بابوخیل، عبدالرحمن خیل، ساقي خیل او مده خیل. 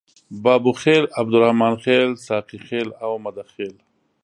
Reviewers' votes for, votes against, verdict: 2, 0, accepted